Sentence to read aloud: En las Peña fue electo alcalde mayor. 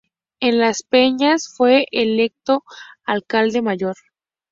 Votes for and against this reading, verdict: 2, 0, accepted